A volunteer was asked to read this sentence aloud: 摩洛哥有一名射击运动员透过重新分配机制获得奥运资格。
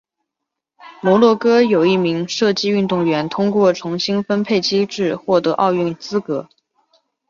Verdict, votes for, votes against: rejected, 0, 2